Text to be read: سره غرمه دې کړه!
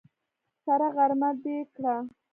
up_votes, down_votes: 2, 0